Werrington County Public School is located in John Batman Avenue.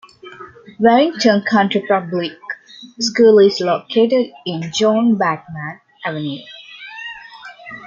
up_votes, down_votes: 2, 1